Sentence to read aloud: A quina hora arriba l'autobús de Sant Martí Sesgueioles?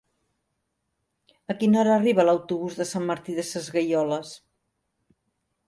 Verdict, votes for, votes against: rejected, 0, 2